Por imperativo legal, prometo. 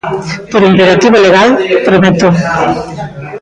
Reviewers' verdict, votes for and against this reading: rejected, 1, 2